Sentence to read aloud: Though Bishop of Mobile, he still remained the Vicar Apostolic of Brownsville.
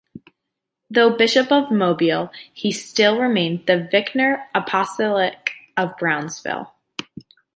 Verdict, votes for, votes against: rejected, 0, 2